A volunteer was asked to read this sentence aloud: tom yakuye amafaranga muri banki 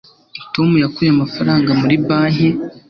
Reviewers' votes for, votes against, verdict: 2, 0, accepted